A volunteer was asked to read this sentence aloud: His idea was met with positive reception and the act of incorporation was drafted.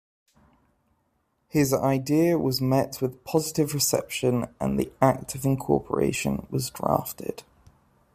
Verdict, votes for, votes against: accepted, 2, 0